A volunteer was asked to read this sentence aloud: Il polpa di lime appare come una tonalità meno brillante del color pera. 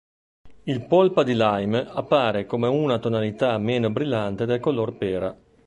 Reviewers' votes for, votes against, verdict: 2, 0, accepted